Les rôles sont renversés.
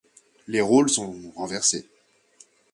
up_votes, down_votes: 2, 0